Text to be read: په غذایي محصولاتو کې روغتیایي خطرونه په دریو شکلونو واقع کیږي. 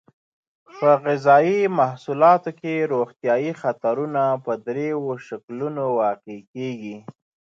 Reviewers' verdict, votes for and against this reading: accepted, 2, 0